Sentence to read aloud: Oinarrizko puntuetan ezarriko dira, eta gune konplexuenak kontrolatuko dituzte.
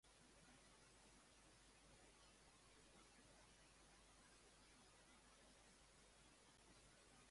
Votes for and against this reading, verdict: 0, 2, rejected